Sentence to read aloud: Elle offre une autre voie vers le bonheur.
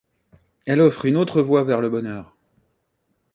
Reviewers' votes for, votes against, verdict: 2, 0, accepted